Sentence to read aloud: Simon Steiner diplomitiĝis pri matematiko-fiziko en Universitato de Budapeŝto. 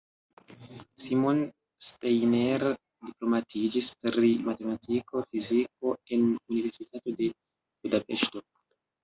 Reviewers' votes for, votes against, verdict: 0, 2, rejected